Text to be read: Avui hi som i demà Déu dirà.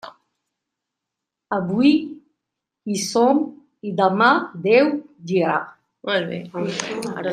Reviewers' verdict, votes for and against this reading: rejected, 0, 2